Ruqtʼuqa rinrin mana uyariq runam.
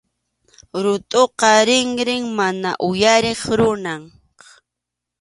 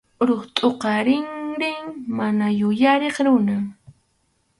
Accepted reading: first